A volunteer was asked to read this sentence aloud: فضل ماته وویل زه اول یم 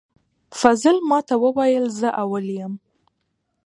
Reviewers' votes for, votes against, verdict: 2, 0, accepted